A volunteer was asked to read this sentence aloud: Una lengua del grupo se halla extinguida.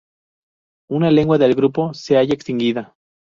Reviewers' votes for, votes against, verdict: 2, 0, accepted